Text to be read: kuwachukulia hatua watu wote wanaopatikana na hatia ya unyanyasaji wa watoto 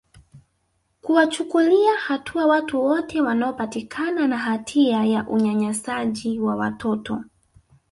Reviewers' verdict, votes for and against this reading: rejected, 0, 2